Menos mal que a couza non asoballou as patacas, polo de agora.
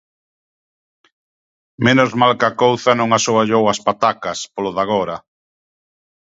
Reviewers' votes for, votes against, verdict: 2, 0, accepted